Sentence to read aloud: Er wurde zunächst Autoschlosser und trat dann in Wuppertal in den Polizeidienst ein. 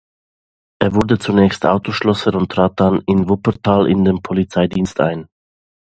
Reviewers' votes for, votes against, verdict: 2, 0, accepted